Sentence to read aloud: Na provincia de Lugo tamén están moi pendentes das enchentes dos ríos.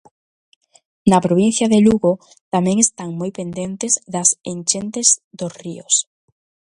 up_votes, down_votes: 2, 0